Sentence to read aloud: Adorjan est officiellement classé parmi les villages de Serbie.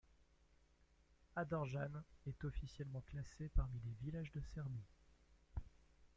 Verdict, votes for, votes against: rejected, 0, 2